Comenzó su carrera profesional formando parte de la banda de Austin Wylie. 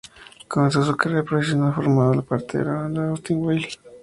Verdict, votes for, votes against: rejected, 0, 4